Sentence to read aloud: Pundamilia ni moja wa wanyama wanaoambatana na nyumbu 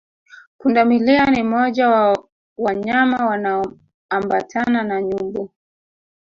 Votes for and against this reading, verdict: 0, 3, rejected